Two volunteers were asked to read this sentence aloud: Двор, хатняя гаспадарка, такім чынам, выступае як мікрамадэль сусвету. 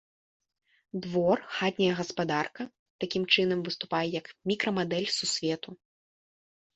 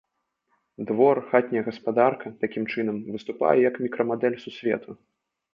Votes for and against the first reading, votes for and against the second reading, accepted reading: 3, 0, 0, 2, first